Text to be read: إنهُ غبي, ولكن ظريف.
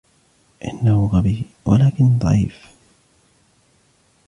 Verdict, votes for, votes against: rejected, 1, 2